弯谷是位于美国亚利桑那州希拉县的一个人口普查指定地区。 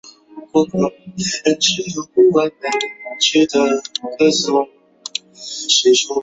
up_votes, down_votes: 0, 2